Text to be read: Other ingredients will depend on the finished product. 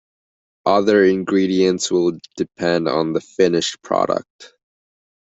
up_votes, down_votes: 2, 1